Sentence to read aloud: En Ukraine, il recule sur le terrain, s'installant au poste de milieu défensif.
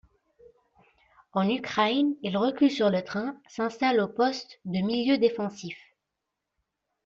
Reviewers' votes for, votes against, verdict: 0, 2, rejected